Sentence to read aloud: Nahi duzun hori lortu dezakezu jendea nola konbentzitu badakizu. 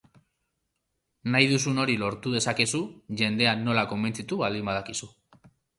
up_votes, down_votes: 1, 2